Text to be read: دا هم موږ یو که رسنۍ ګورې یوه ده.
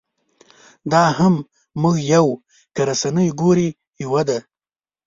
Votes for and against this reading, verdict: 3, 0, accepted